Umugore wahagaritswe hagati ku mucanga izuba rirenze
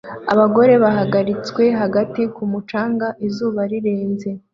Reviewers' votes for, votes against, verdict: 0, 2, rejected